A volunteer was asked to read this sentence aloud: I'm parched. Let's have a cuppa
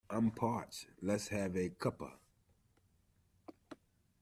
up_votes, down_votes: 2, 1